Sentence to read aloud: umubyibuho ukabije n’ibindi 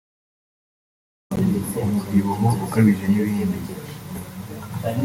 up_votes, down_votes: 2, 0